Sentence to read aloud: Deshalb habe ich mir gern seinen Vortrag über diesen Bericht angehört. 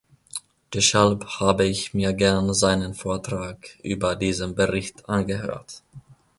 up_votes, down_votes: 1, 2